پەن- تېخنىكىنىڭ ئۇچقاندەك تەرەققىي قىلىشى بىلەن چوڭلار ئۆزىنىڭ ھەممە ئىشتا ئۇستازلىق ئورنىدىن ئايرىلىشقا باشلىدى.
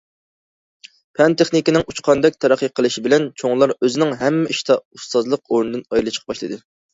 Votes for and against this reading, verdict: 2, 0, accepted